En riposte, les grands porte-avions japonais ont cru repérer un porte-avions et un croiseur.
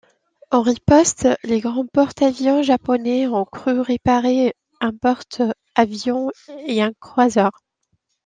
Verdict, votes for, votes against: accepted, 2, 0